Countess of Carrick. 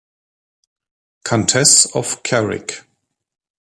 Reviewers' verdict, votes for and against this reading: rejected, 1, 2